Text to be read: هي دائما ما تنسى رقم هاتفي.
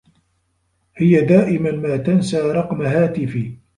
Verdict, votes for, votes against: accepted, 2, 0